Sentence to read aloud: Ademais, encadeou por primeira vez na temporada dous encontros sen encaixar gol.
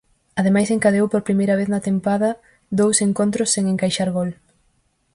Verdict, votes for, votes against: rejected, 2, 2